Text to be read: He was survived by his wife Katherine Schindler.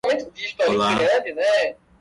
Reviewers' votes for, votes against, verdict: 0, 2, rejected